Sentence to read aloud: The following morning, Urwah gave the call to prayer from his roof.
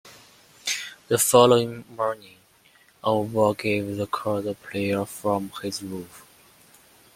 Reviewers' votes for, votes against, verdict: 2, 0, accepted